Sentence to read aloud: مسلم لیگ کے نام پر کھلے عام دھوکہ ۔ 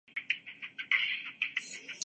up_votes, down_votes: 1, 7